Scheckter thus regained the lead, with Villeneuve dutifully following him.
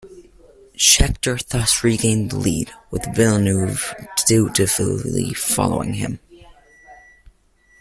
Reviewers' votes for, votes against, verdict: 2, 1, accepted